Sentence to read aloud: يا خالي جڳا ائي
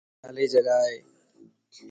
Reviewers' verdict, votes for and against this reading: accepted, 2, 0